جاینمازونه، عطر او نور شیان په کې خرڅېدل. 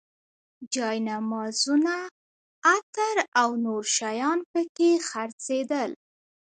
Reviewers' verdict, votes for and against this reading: rejected, 1, 2